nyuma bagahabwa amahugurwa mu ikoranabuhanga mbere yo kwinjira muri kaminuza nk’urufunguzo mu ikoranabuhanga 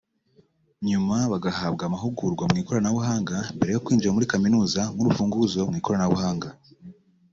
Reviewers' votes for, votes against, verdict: 2, 0, accepted